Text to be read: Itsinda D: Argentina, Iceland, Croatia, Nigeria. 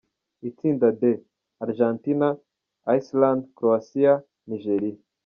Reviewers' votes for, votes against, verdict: 0, 2, rejected